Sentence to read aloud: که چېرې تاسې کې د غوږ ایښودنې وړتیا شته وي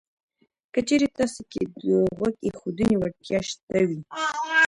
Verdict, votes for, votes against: rejected, 1, 2